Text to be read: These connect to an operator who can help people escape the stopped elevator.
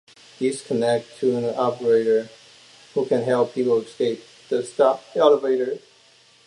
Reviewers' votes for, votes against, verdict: 2, 1, accepted